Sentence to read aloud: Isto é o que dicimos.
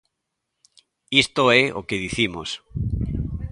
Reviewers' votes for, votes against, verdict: 2, 1, accepted